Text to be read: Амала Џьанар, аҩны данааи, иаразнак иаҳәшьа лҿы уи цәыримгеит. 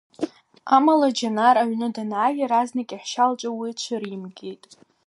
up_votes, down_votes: 2, 0